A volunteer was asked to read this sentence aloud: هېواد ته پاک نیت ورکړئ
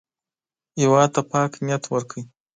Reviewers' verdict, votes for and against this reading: rejected, 1, 2